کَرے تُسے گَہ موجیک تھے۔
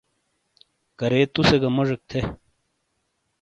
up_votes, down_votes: 2, 0